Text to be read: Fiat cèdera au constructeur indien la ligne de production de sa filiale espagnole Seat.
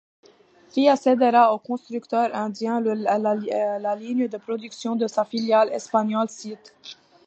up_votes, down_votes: 0, 2